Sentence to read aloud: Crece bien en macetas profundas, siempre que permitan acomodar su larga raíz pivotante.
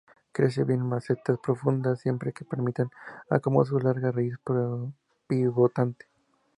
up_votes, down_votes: 2, 0